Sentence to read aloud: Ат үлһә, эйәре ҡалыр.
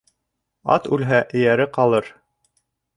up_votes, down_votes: 2, 0